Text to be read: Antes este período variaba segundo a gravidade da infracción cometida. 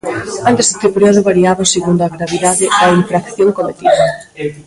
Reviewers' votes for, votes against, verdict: 0, 2, rejected